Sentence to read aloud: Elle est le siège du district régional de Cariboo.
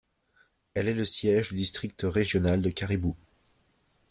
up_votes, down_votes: 1, 2